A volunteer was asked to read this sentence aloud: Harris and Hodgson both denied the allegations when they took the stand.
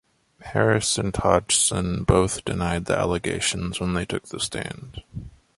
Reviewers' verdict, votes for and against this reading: accepted, 2, 1